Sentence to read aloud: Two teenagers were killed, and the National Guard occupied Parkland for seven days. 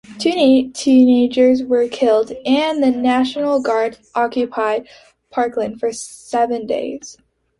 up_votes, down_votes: 2, 0